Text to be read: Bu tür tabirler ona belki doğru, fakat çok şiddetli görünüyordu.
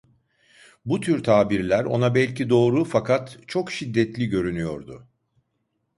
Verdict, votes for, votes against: accepted, 2, 0